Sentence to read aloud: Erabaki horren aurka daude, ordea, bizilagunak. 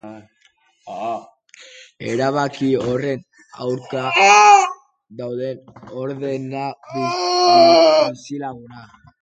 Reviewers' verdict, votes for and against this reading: rejected, 0, 2